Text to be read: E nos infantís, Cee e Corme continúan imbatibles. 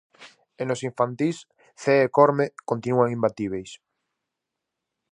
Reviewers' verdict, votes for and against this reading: rejected, 0, 4